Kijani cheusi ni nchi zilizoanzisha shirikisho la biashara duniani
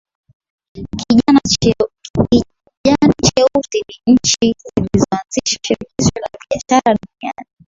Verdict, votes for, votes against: rejected, 0, 2